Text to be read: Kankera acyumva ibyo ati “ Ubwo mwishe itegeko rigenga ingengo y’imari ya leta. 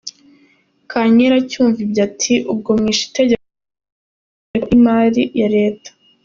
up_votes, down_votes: 2, 1